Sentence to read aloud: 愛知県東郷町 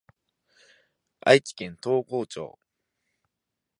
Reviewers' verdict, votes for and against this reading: accepted, 3, 0